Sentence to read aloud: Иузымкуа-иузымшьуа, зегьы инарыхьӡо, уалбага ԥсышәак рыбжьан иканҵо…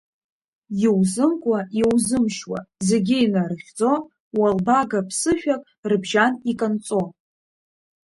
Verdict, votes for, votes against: accepted, 2, 0